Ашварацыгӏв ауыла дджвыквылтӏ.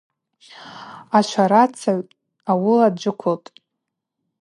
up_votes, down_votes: 2, 0